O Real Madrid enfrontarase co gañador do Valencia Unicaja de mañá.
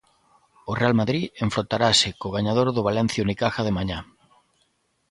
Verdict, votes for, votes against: accepted, 2, 0